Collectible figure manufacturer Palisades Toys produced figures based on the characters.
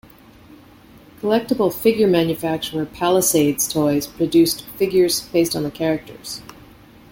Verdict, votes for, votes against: accepted, 2, 1